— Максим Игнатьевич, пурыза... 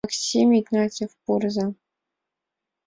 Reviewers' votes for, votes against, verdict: 1, 2, rejected